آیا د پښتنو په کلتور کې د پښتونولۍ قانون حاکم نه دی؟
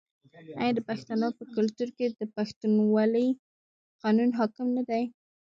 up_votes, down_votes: 1, 2